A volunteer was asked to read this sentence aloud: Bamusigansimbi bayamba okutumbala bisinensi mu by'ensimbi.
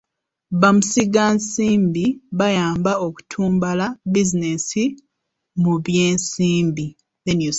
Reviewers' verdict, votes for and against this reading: rejected, 1, 2